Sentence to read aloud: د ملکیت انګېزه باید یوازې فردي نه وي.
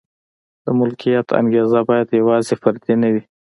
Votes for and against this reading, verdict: 2, 0, accepted